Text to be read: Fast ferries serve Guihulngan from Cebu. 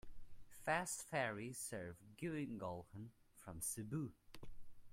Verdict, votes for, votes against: rejected, 1, 2